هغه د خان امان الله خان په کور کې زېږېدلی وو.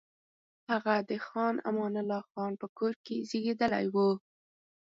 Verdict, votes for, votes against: accepted, 4, 0